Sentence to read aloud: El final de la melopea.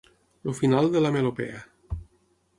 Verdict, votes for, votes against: rejected, 3, 6